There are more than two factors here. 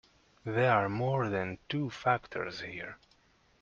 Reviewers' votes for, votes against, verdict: 2, 0, accepted